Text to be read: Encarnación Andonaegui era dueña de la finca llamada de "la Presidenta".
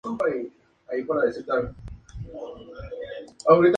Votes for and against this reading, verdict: 0, 2, rejected